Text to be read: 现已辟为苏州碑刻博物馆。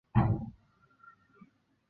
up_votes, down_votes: 1, 2